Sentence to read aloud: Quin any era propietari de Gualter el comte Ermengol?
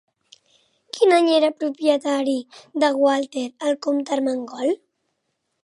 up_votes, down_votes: 2, 0